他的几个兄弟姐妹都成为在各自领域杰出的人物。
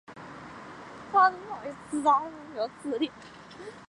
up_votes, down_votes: 1, 3